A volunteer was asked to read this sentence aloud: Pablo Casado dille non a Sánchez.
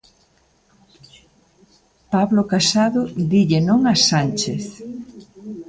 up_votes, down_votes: 3, 0